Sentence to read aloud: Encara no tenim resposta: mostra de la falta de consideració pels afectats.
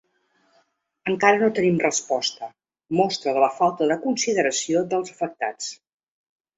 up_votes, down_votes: 1, 2